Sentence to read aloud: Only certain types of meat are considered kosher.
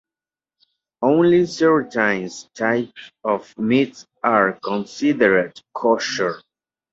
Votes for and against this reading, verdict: 2, 1, accepted